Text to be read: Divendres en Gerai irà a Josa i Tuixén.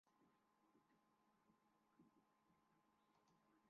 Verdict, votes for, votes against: rejected, 0, 2